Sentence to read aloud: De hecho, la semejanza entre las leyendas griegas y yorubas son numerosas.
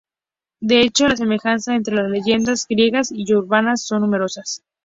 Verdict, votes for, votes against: rejected, 0, 2